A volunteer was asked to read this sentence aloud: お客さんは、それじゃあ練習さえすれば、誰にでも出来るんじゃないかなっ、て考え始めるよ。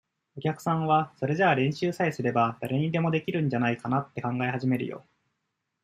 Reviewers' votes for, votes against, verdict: 2, 0, accepted